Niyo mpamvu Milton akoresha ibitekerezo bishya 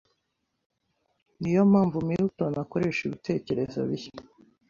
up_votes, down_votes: 2, 0